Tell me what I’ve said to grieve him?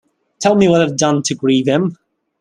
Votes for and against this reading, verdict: 0, 2, rejected